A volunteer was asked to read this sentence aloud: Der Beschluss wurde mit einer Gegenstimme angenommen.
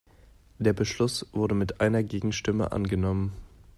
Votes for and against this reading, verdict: 2, 0, accepted